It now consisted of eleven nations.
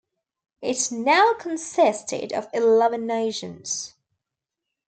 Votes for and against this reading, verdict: 2, 0, accepted